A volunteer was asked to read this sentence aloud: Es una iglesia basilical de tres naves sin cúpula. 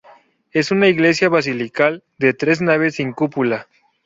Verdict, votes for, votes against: accepted, 4, 0